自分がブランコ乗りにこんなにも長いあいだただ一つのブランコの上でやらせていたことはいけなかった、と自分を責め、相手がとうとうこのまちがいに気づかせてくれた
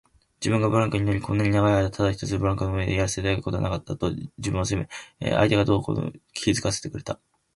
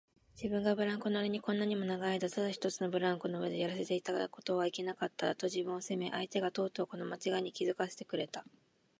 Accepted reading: second